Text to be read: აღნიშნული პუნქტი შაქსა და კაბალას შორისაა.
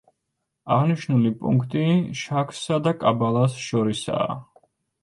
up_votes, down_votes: 1, 2